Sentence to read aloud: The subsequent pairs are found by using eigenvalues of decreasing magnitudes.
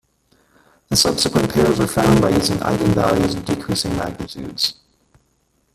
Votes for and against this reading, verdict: 1, 2, rejected